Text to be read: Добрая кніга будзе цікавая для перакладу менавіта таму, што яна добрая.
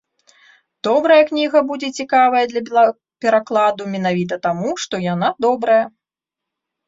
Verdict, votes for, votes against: rejected, 0, 2